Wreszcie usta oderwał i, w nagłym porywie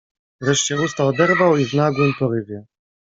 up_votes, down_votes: 1, 2